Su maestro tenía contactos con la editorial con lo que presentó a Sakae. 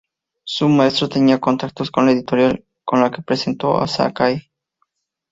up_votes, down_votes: 2, 0